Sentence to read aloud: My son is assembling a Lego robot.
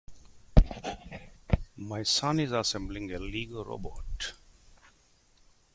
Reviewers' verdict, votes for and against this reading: rejected, 1, 2